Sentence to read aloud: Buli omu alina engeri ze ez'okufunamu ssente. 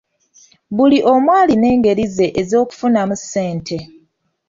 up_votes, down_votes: 2, 0